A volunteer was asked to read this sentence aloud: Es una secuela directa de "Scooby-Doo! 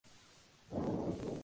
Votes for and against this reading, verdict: 0, 2, rejected